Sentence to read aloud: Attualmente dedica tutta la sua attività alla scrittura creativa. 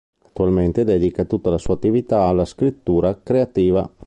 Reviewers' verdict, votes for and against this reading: rejected, 1, 2